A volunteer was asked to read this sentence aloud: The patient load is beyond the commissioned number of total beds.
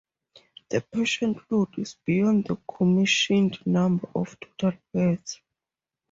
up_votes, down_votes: 0, 2